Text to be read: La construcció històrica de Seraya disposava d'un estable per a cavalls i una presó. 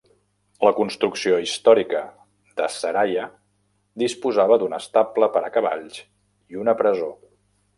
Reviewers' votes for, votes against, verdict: 2, 0, accepted